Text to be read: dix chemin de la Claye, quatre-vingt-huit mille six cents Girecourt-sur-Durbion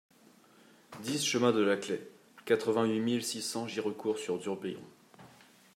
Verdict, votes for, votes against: accepted, 2, 1